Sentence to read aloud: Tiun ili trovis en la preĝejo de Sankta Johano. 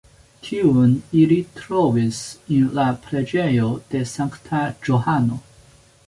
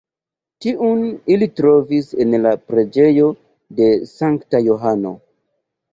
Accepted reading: first